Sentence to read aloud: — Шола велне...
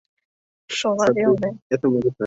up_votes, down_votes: 0, 2